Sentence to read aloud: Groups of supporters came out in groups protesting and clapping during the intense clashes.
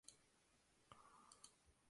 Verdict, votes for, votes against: rejected, 0, 2